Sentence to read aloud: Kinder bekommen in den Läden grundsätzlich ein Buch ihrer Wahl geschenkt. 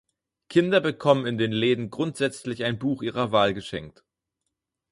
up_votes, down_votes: 4, 0